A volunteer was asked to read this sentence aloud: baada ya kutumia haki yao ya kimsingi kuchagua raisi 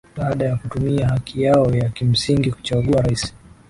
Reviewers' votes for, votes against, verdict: 2, 0, accepted